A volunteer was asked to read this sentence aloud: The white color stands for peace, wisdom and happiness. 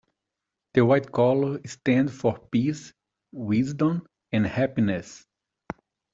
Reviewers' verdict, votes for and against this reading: accepted, 2, 0